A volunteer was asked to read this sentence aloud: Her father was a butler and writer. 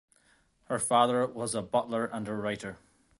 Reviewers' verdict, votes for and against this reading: rejected, 0, 2